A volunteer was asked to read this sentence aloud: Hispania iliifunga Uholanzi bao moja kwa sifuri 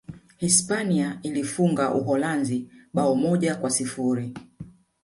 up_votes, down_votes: 1, 2